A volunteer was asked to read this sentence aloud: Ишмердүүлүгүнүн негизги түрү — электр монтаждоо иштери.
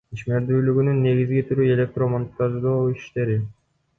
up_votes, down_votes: 2, 1